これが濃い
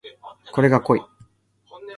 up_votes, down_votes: 2, 1